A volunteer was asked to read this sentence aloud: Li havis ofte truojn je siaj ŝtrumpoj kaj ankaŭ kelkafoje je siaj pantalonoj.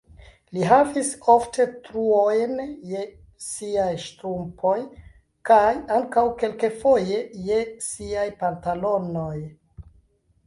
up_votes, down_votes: 1, 2